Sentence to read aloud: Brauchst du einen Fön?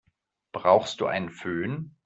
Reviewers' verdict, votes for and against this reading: accepted, 2, 0